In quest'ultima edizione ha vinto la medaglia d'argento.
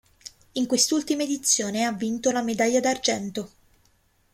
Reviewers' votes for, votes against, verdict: 2, 0, accepted